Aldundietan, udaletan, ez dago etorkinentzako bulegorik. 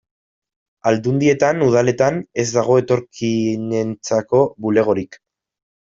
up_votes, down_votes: 0, 2